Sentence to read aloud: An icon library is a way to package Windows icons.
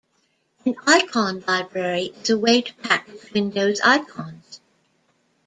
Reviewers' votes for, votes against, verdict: 2, 0, accepted